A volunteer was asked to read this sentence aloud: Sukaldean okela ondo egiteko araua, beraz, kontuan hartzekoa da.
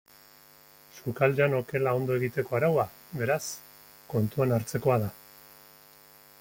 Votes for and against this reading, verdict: 2, 1, accepted